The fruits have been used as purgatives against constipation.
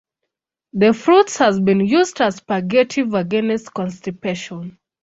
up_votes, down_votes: 0, 2